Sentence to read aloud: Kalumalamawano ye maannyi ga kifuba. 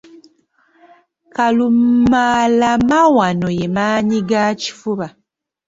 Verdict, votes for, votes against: accepted, 2, 1